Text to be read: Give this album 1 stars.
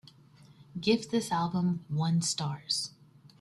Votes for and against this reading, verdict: 0, 2, rejected